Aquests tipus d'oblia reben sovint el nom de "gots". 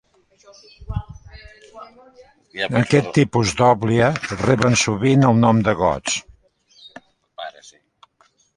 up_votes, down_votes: 0, 2